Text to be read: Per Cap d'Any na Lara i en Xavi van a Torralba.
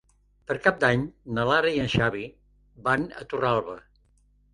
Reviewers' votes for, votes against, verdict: 3, 0, accepted